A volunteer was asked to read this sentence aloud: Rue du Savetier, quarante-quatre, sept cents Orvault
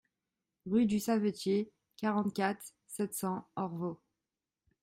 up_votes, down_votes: 2, 0